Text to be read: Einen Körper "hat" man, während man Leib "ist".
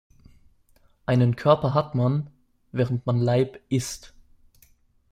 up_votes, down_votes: 2, 0